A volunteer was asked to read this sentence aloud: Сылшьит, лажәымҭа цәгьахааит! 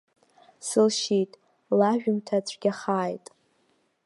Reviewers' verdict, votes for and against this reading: accepted, 2, 0